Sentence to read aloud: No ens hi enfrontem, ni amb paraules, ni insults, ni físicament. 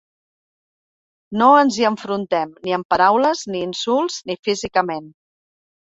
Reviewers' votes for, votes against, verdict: 2, 0, accepted